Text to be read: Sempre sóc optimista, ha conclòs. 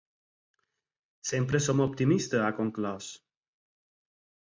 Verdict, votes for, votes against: rejected, 2, 4